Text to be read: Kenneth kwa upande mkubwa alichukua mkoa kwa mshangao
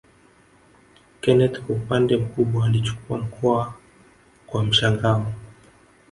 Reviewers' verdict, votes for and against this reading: accepted, 5, 0